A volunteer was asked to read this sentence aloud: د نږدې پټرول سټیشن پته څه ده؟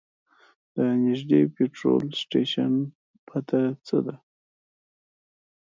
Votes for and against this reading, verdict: 2, 0, accepted